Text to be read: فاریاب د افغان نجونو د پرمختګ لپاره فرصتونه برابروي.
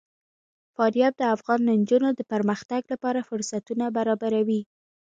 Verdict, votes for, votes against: accepted, 2, 1